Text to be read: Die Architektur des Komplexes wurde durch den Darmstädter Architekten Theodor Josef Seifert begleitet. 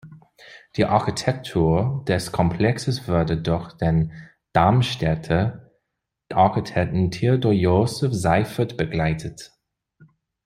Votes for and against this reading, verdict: 1, 2, rejected